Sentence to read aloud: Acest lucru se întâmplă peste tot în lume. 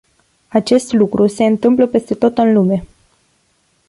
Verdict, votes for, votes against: accepted, 2, 0